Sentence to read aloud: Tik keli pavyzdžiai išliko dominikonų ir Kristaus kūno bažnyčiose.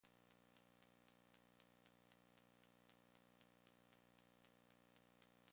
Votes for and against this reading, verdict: 0, 2, rejected